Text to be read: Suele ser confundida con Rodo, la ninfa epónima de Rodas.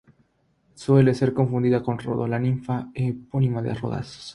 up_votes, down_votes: 0, 3